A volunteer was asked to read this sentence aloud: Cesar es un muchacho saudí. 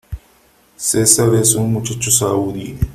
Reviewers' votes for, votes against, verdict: 2, 1, accepted